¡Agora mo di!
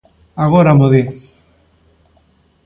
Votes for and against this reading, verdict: 2, 1, accepted